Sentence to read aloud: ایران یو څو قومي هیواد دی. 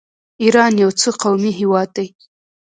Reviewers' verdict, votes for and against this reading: rejected, 0, 2